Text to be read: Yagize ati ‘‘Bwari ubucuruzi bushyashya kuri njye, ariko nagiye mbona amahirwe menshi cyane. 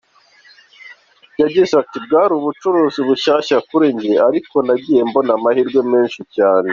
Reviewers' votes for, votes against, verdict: 2, 0, accepted